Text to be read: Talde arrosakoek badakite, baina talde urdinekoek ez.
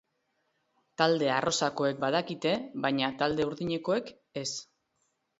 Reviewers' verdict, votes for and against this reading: accepted, 3, 0